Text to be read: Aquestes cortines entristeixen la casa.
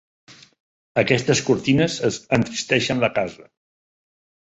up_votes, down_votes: 1, 2